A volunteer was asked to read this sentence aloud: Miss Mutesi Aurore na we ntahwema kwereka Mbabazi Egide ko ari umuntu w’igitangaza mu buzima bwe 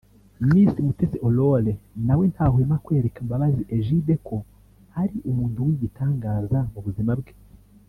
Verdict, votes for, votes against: accepted, 2, 0